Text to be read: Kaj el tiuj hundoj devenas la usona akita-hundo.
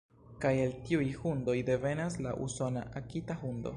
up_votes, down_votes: 1, 2